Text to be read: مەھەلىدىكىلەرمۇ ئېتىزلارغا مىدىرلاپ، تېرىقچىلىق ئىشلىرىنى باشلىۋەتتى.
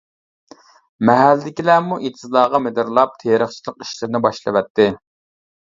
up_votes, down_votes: 1, 2